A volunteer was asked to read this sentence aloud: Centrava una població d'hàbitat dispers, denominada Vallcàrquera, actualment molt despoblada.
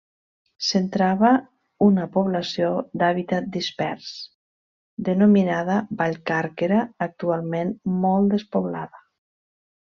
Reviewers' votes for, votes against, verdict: 3, 0, accepted